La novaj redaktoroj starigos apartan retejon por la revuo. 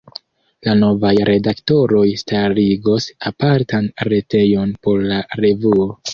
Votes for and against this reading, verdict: 2, 0, accepted